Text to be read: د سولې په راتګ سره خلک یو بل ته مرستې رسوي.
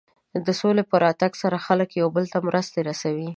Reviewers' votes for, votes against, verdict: 2, 0, accepted